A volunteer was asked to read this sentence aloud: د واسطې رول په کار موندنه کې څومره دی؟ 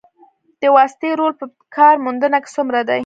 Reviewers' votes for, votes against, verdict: 1, 2, rejected